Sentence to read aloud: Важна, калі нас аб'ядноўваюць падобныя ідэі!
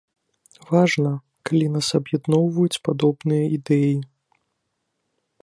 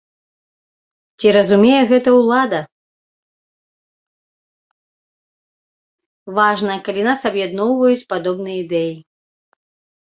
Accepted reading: first